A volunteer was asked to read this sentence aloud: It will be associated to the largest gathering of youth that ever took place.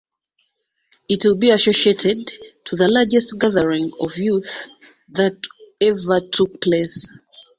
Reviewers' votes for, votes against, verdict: 2, 0, accepted